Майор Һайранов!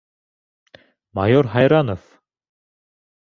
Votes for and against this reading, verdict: 0, 2, rejected